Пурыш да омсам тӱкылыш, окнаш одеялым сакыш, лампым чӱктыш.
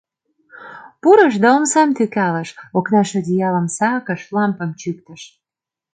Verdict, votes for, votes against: rejected, 0, 2